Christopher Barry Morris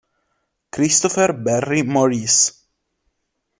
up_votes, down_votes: 2, 0